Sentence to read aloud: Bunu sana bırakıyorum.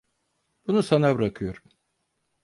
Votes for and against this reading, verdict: 4, 0, accepted